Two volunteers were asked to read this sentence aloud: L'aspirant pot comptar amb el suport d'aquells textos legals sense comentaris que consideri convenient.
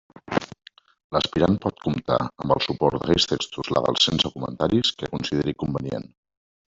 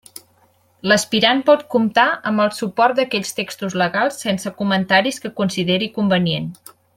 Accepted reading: second